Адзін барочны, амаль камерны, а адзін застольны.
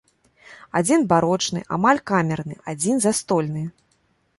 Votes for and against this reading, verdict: 1, 2, rejected